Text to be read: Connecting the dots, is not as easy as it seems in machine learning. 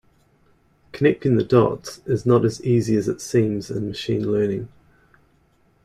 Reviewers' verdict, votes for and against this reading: accepted, 2, 0